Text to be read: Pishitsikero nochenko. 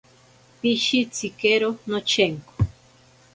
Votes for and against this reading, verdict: 2, 0, accepted